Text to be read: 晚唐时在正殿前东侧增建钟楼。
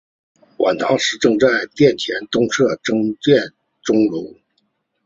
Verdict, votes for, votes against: rejected, 1, 2